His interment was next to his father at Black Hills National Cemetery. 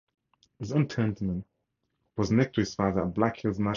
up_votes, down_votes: 2, 2